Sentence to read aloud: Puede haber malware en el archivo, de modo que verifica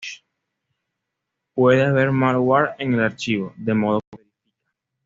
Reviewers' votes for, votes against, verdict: 0, 2, rejected